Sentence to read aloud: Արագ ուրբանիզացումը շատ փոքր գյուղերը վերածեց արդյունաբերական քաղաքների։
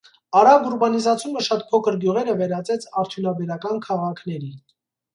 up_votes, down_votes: 0, 2